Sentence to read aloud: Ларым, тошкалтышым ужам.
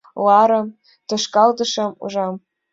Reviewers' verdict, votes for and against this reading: accepted, 2, 0